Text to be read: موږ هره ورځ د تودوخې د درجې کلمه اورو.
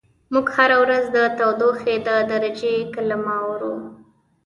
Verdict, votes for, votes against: accepted, 2, 0